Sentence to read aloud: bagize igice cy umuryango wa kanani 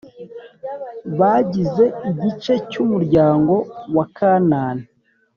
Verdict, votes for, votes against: accepted, 2, 0